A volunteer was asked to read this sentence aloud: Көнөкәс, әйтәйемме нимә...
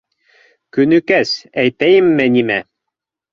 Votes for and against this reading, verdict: 3, 0, accepted